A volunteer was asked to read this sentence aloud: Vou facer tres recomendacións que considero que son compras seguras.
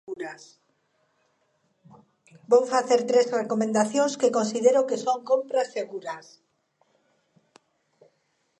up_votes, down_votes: 1, 2